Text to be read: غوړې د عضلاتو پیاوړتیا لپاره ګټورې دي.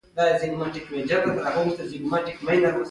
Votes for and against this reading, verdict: 2, 1, accepted